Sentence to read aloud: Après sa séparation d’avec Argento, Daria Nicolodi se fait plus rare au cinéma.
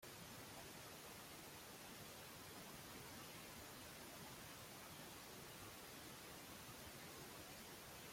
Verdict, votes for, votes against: rejected, 0, 2